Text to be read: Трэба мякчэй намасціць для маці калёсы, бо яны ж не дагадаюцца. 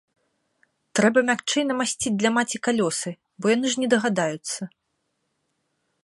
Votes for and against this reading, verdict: 2, 0, accepted